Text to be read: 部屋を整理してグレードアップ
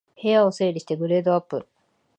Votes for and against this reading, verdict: 2, 0, accepted